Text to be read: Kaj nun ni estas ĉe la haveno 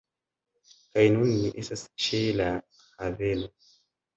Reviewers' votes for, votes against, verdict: 1, 2, rejected